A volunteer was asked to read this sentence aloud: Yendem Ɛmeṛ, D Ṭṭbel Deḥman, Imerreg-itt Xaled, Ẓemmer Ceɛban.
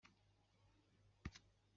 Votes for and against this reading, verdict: 1, 2, rejected